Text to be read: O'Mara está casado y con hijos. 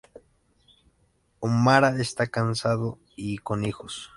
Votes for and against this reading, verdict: 0, 2, rejected